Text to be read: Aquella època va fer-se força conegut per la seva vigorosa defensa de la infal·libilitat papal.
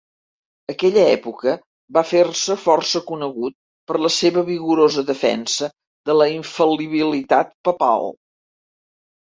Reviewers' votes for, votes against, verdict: 2, 0, accepted